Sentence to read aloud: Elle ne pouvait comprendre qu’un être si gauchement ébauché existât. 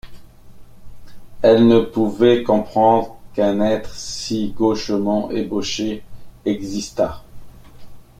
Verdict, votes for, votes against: accepted, 2, 0